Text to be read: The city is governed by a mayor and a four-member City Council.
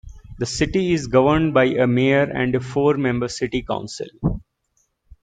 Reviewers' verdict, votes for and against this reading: accepted, 2, 0